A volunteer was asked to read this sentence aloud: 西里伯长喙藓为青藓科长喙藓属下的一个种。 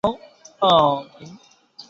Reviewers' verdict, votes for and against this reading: rejected, 1, 3